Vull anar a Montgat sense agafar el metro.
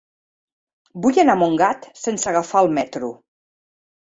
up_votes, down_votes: 4, 0